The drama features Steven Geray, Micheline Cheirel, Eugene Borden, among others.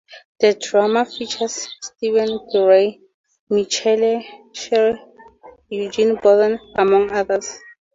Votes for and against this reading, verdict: 0, 2, rejected